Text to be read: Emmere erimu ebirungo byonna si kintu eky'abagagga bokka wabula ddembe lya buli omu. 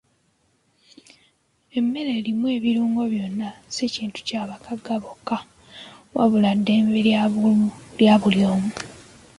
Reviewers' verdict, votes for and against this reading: accepted, 2, 1